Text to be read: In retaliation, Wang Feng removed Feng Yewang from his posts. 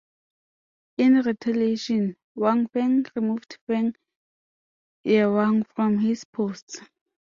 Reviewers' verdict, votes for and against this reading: accepted, 2, 0